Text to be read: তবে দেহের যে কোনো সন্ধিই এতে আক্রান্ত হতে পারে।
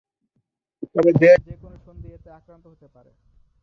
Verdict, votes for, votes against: rejected, 0, 3